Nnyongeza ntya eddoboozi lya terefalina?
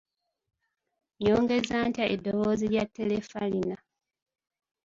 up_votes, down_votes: 2, 0